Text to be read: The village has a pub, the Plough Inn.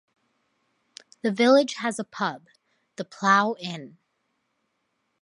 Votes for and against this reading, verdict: 2, 0, accepted